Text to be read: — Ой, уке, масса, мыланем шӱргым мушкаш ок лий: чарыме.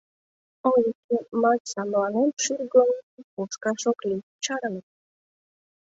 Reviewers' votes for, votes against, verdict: 0, 2, rejected